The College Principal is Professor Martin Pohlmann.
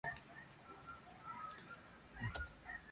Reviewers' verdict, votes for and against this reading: rejected, 0, 4